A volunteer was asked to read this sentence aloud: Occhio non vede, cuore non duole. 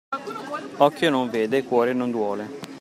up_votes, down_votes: 2, 0